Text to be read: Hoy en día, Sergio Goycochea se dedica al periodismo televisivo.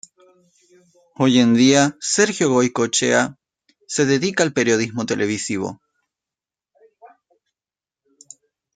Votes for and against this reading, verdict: 2, 0, accepted